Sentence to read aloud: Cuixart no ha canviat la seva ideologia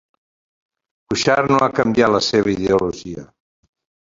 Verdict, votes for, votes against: rejected, 0, 2